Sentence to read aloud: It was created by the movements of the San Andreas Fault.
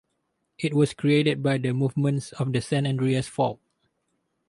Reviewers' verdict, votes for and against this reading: rejected, 0, 2